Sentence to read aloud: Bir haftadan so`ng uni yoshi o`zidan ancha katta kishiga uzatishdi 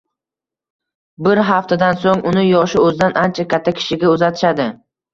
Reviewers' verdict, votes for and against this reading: rejected, 0, 2